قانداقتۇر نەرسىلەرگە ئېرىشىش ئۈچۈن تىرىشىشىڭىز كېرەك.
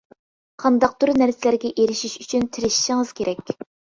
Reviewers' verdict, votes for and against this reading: accepted, 2, 0